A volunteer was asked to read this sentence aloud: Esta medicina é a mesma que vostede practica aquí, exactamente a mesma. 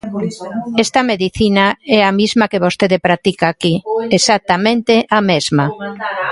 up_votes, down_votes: 0, 3